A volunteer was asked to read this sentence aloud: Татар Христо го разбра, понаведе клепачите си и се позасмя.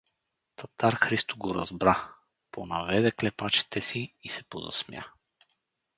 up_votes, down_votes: 4, 0